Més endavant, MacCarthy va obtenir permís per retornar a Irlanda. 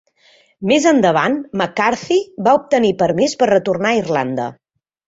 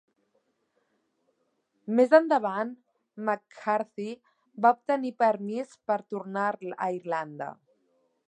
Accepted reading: first